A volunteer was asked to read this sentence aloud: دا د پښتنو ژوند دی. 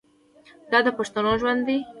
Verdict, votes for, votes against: accepted, 2, 0